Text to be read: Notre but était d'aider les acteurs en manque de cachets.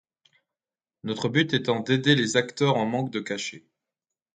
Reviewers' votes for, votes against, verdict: 0, 2, rejected